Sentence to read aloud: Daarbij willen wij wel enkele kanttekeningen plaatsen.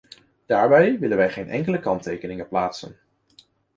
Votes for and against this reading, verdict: 0, 3, rejected